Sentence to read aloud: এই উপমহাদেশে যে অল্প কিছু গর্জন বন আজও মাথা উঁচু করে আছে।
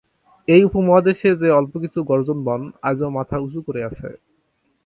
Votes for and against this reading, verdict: 0, 2, rejected